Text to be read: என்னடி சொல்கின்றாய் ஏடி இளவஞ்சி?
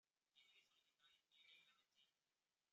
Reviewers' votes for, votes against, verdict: 1, 2, rejected